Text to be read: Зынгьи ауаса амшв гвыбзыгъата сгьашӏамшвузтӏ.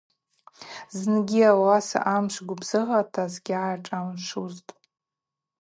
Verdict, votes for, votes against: accepted, 2, 0